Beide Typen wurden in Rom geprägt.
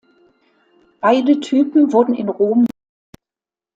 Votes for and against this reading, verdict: 0, 2, rejected